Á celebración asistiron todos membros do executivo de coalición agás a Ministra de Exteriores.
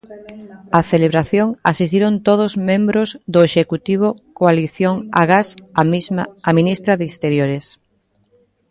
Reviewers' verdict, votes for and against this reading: rejected, 0, 2